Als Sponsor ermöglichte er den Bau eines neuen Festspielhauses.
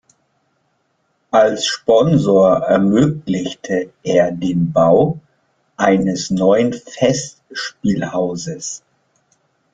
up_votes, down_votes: 2, 0